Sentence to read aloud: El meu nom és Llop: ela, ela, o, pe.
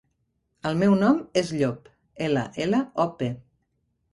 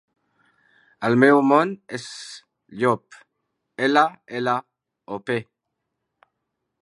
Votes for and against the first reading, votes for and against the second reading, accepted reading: 4, 0, 0, 2, first